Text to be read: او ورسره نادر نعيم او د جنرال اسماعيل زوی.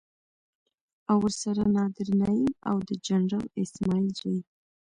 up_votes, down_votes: 0, 2